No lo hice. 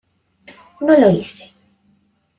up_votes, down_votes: 0, 2